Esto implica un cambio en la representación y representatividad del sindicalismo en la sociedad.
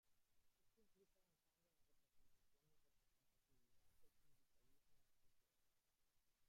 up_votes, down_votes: 0, 2